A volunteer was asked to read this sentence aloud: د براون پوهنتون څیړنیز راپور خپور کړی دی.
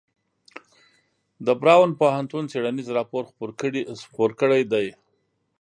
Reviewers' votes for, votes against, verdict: 1, 2, rejected